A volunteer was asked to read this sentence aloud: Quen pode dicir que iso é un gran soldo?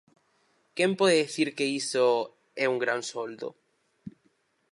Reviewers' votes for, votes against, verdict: 2, 2, rejected